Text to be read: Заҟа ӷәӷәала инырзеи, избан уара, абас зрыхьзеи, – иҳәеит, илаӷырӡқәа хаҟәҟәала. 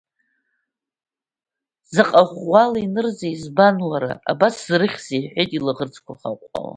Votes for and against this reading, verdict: 2, 0, accepted